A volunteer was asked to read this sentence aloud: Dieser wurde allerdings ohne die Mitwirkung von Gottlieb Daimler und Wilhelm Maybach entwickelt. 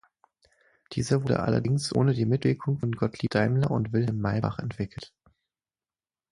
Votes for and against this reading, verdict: 6, 3, accepted